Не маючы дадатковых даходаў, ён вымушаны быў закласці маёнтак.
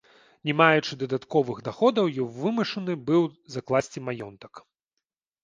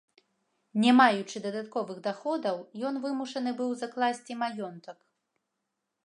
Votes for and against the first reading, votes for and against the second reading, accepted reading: 0, 2, 2, 0, second